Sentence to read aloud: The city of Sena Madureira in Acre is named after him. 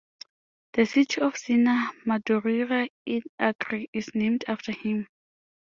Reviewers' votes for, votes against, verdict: 2, 0, accepted